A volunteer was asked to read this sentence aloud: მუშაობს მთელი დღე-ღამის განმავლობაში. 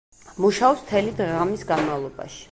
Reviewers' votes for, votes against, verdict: 2, 0, accepted